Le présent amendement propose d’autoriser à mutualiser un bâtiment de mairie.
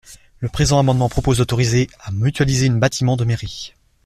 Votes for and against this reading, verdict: 0, 2, rejected